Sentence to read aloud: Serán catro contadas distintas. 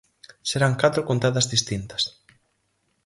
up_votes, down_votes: 4, 0